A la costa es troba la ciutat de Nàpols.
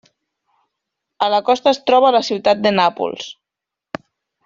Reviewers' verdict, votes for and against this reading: rejected, 1, 2